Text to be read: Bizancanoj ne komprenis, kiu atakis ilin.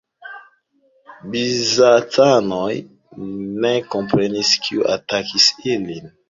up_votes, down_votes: 0, 3